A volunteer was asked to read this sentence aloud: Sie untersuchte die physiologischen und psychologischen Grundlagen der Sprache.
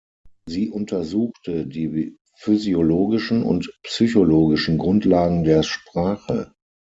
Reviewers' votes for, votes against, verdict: 3, 6, rejected